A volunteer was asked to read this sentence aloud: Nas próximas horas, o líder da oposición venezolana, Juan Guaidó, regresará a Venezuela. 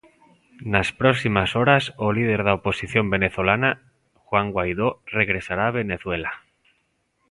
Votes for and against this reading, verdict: 2, 0, accepted